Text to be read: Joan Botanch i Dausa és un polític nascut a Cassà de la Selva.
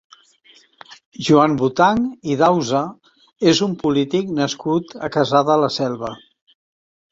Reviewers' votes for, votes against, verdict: 2, 0, accepted